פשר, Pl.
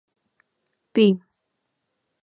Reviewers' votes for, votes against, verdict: 0, 2, rejected